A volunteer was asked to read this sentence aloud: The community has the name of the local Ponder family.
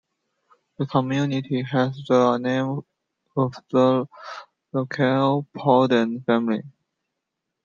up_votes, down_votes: 0, 2